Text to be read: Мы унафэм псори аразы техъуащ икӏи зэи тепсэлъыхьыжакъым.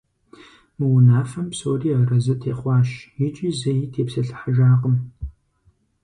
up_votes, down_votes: 4, 0